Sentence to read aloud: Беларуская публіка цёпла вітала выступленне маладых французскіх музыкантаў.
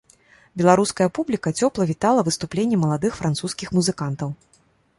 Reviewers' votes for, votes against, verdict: 2, 0, accepted